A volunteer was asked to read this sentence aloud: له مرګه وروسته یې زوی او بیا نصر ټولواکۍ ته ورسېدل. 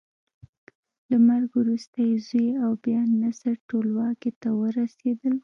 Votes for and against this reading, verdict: 1, 2, rejected